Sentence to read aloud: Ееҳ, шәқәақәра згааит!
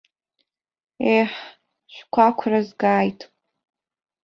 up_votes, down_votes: 2, 0